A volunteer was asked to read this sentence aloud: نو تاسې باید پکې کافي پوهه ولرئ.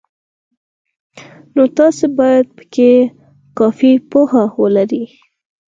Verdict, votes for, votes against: accepted, 4, 0